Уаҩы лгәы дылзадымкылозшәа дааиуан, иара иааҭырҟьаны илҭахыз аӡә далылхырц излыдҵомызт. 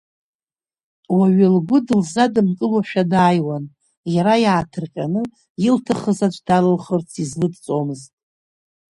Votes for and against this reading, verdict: 0, 2, rejected